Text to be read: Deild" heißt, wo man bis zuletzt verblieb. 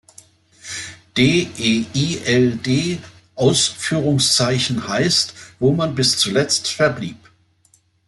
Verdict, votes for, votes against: rejected, 1, 2